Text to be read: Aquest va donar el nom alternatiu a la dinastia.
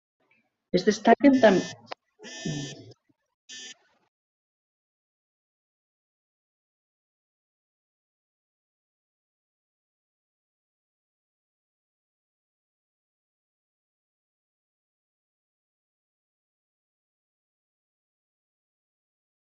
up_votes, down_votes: 0, 2